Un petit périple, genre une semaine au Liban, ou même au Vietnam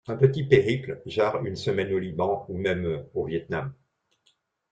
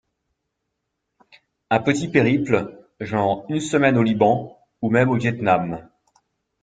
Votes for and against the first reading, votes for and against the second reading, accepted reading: 0, 2, 2, 0, second